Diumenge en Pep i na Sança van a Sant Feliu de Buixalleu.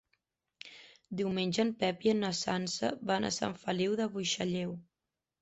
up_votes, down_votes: 1, 2